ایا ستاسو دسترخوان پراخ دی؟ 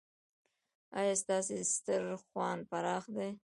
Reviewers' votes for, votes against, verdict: 0, 2, rejected